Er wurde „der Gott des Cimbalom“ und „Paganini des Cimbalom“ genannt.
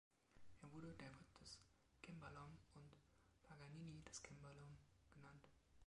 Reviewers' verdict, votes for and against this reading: rejected, 2, 3